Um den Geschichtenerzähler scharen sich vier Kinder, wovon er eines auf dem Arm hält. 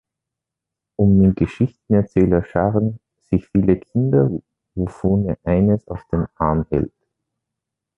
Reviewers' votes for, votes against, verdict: 0, 2, rejected